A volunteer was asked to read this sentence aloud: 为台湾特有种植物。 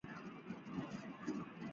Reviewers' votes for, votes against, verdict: 0, 3, rejected